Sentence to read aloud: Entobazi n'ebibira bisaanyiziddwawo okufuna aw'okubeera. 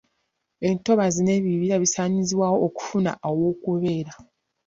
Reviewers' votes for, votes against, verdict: 1, 2, rejected